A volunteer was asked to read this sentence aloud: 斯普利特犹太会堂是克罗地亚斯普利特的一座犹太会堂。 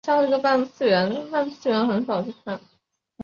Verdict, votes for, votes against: rejected, 1, 2